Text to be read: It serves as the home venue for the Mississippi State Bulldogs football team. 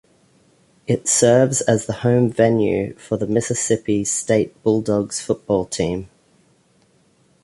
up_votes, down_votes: 2, 0